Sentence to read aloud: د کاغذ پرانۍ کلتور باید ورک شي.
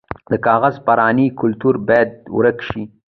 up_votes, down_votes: 0, 2